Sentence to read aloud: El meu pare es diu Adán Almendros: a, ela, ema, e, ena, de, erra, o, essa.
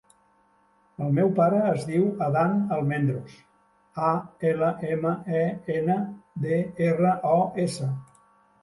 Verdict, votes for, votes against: rejected, 0, 2